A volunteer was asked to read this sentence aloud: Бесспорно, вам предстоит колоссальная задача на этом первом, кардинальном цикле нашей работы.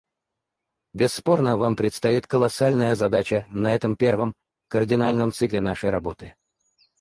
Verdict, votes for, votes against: rejected, 0, 4